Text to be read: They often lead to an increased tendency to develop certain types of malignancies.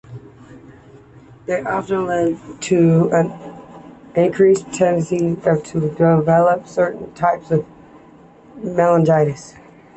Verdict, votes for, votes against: rejected, 1, 2